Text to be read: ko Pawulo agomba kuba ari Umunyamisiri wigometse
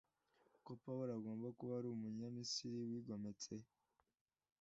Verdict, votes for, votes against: accepted, 2, 0